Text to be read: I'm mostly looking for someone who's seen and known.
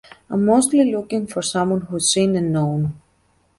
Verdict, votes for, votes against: accepted, 2, 0